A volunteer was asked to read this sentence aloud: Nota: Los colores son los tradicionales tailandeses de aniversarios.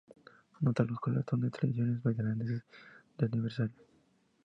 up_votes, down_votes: 2, 0